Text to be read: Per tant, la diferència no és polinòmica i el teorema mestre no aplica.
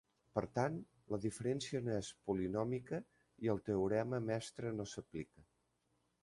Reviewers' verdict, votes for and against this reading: rejected, 1, 2